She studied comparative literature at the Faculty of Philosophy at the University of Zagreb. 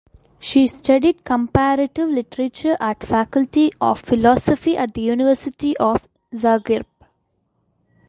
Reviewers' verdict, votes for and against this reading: rejected, 1, 2